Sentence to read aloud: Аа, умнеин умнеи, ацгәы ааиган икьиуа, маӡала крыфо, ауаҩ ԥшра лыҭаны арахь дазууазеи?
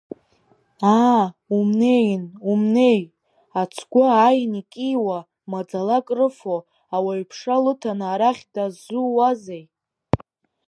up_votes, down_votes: 3, 0